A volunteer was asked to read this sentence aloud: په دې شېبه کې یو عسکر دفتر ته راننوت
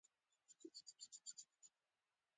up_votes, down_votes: 0, 2